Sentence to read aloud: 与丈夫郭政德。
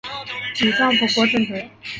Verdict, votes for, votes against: accepted, 2, 0